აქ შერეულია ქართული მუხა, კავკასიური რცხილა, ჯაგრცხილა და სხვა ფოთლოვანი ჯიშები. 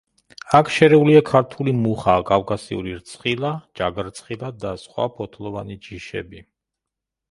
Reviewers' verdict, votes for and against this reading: accepted, 2, 0